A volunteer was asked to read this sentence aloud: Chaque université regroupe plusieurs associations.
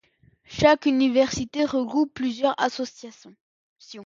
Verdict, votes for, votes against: rejected, 0, 2